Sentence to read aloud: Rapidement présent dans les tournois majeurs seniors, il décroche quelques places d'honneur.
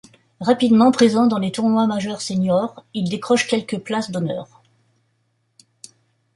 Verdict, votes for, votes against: accepted, 2, 0